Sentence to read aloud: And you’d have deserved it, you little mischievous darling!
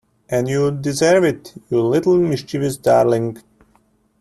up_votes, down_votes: 0, 2